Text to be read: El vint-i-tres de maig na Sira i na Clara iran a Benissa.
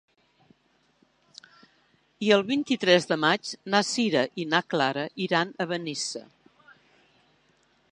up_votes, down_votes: 2, 3